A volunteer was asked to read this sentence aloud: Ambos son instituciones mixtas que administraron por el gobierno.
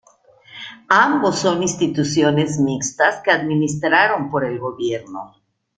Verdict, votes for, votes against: accepted, 2, 1